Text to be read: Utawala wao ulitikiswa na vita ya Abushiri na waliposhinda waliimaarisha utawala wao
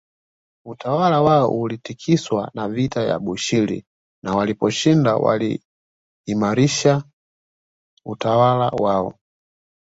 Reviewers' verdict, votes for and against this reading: rejected, 1, 2